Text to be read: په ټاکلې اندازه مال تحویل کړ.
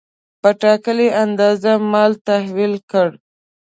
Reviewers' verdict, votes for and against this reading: accepted, 2, 0